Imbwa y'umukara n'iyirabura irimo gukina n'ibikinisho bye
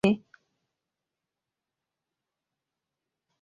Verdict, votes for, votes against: rejected, 0, 2